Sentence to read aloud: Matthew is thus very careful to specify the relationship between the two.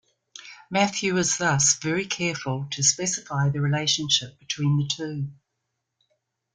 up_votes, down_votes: 2, 0